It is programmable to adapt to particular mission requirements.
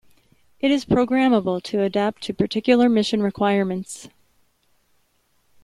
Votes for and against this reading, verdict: 2, 0, accepted